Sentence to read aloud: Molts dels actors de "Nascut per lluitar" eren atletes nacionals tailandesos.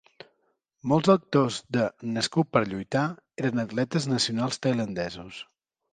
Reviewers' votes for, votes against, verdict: 1, 3, rejected